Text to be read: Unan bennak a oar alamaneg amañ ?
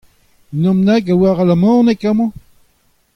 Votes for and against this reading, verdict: 2, 0, accepted